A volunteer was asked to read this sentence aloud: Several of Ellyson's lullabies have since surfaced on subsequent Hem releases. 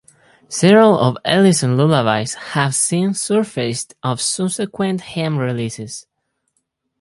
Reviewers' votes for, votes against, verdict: 0, 4, rejected